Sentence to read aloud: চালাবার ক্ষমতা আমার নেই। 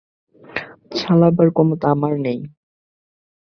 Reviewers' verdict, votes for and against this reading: rejected, 0, 4